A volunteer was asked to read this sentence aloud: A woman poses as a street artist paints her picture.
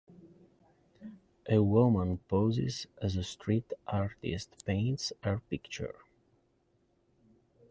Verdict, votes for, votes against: accepted, 2, 0